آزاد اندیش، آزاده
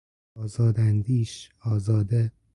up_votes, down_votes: 4, 0